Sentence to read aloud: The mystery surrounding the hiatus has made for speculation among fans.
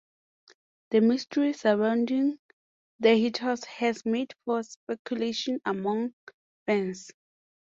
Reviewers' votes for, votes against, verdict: 4, 2, accepted